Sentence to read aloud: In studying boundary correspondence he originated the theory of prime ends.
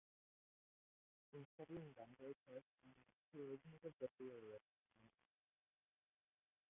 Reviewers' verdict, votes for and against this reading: rejected, 0, 2